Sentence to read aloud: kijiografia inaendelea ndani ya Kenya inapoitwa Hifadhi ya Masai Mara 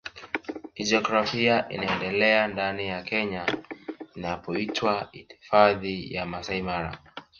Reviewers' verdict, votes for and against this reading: rejected, 1, 2